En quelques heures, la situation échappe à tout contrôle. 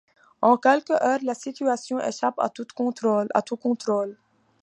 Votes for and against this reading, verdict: 0, 2, rejected